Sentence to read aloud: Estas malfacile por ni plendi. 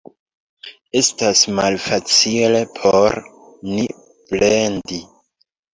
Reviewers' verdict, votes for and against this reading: accepted, 2, 1